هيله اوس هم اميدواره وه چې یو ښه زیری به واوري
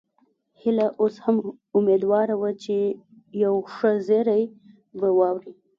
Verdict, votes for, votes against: rejected, 0, 2